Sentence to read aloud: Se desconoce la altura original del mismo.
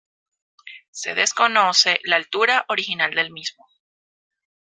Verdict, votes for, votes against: accepted, 2, 0